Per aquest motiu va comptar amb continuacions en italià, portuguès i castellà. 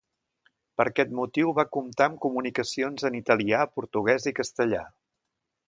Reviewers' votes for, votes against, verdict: 0, 2, rejected